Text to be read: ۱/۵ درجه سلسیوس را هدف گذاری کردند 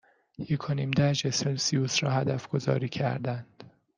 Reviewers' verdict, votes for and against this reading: rejected, 0, 2